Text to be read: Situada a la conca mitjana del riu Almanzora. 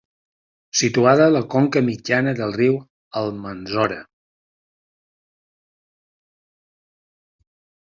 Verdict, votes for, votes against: accepted, 2, 0